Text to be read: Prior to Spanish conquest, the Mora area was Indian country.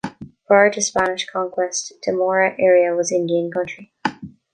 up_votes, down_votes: 2, 0